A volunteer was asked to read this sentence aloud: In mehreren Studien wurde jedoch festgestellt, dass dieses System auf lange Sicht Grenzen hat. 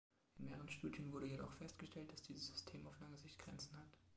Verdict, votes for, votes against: rejected, 1, 2